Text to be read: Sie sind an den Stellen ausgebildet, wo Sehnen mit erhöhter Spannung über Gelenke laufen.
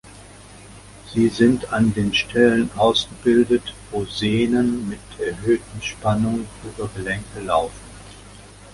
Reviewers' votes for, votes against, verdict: 0, 2, rejected